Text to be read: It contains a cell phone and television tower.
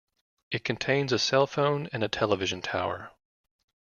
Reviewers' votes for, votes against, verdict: 1, 2, rejected